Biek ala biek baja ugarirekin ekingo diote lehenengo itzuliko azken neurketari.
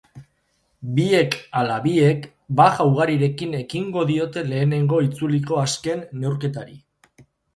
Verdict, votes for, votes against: accepted, 2, 0